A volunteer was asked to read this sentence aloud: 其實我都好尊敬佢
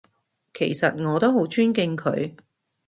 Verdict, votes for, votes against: accepted, 2, 0